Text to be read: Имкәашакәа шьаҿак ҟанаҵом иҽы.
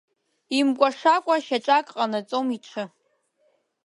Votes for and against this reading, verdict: 2, 0, accepted